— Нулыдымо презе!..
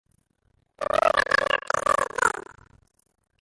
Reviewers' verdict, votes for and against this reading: rejected, 0, 2